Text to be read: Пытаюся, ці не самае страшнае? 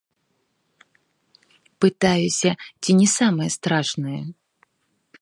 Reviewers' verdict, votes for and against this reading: rejected, 1, 2